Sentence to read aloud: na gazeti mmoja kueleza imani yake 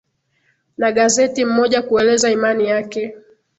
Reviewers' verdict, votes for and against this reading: accepted, 3, 0